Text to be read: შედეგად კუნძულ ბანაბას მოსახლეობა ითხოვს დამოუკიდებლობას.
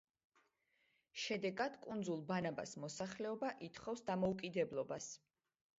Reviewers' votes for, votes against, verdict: 2, 0, accepted